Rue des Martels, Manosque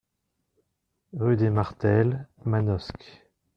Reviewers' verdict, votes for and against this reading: accepted, 2, 0